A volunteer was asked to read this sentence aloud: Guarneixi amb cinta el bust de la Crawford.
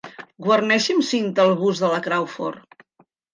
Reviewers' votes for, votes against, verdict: 3, 0, accepted